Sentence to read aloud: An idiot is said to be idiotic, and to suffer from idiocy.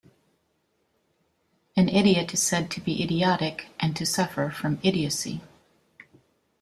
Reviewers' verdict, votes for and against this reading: accepted, 2, 0